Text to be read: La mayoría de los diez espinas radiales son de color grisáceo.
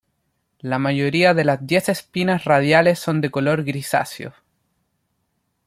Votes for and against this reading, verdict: 1, 2, rejected